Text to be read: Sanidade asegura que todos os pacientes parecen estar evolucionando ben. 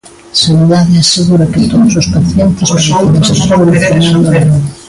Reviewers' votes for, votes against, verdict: 0, 2, rejected